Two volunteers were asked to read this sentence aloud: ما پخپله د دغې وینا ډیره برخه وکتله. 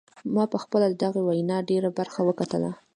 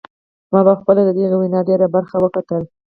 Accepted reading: first